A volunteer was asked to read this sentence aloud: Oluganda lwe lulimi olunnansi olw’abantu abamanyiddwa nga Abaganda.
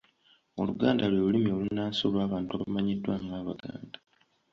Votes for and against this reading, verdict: 2, 0, accepted